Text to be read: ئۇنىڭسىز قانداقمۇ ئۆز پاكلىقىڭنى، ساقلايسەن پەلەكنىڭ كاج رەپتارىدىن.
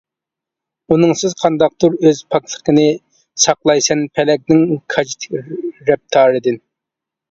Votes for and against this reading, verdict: 0, 2, rejected